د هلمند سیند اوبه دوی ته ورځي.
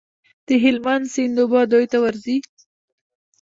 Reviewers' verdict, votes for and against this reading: accepted, 2, 0